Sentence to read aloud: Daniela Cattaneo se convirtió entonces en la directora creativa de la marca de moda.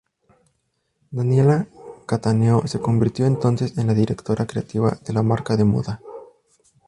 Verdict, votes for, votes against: rejected, 2, 2